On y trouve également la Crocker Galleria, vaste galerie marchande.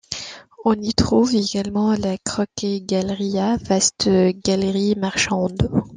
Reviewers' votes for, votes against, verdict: 2, 1, accepted